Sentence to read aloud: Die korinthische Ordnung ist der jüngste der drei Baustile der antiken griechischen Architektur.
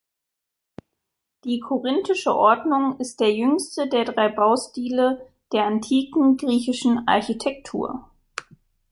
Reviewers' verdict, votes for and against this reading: accepted, 2, 0